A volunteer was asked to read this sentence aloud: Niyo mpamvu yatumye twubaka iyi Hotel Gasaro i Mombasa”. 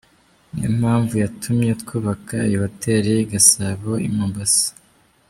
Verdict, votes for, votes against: accepted, 2, 1